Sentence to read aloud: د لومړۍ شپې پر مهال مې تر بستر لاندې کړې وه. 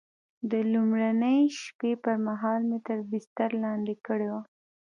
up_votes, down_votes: 2, 0